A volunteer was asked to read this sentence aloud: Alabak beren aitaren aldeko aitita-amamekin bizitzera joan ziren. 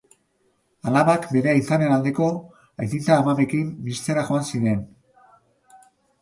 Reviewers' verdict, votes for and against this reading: accepted, 2, 1